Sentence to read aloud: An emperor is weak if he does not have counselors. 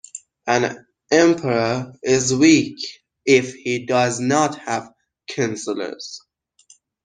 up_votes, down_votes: 1, 2